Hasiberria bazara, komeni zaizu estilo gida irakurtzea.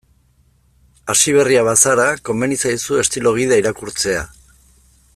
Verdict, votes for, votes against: accepted, 2, 0